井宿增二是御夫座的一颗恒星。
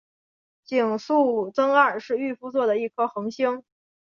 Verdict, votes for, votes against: accepted, 8, 0